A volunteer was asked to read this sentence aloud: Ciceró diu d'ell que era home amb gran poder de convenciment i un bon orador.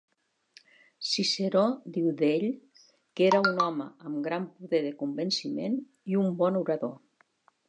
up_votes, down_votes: 1, 2